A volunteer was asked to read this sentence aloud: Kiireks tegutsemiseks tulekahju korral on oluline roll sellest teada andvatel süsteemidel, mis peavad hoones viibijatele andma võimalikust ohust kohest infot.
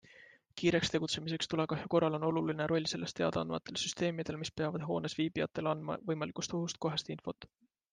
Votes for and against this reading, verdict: 2, 0, accepted